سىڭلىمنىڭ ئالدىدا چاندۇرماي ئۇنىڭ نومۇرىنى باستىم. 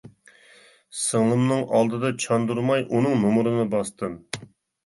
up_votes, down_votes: 2, 0